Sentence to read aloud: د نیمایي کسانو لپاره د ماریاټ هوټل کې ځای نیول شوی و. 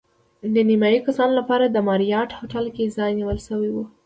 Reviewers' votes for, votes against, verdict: 1, 2, rejected